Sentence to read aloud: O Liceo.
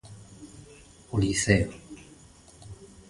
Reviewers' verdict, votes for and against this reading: accepted, 2, 0